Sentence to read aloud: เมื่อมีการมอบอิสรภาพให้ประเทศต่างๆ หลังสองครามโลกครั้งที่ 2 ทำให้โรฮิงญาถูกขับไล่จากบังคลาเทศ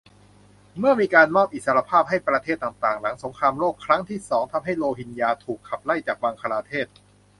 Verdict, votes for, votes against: rejected, 0, 2